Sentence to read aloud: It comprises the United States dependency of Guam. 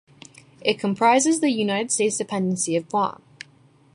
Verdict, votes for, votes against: accepted, 2, 0